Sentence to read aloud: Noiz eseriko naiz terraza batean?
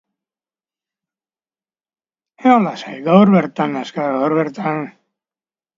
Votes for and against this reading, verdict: 0, 2, rejected